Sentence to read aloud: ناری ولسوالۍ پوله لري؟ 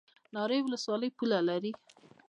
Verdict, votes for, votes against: rejected, 0, 2